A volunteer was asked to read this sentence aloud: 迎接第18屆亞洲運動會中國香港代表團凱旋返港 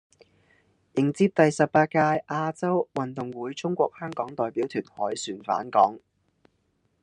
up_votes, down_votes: 0, 2